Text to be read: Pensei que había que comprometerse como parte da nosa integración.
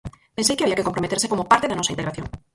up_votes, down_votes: 0, 4